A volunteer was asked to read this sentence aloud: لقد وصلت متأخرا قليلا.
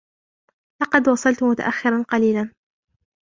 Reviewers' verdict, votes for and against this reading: rejected, 0, 2